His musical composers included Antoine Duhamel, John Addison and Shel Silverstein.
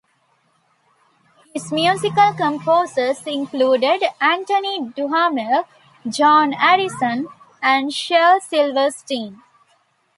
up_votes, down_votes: 2, 0